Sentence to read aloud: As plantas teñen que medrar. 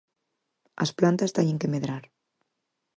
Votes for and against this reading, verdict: 4, 0, accepted